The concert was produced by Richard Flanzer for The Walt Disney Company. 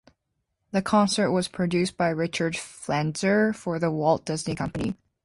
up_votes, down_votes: 2, 0